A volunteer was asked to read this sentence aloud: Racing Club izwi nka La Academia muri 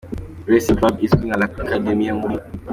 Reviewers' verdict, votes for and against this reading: accepted, 2, 0